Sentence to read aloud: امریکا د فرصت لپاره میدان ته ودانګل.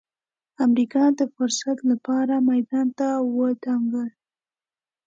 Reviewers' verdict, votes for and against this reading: accepted, 2, 0